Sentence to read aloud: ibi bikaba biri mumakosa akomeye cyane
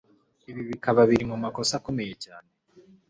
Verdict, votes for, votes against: accepted, 3, 0